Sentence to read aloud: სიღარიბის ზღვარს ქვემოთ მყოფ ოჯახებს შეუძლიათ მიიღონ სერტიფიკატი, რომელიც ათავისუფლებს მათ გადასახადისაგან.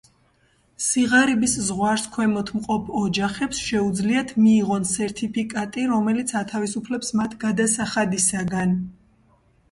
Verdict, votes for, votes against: accepted, 2, 0